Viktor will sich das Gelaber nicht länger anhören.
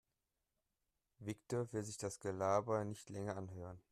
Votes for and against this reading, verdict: 3, 0, accepted